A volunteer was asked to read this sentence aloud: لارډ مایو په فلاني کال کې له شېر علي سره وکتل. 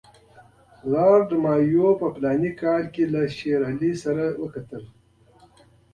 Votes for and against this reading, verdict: 2, 0, accepted